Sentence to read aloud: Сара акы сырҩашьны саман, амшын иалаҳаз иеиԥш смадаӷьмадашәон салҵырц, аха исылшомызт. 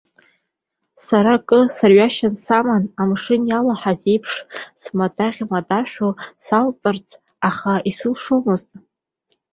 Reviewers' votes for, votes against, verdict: 3, 0, accepted